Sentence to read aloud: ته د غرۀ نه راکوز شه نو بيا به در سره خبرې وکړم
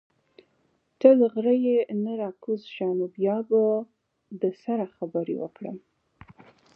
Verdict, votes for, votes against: rejected, 1, 2